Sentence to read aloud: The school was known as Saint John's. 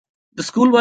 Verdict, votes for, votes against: rejected, 0, 2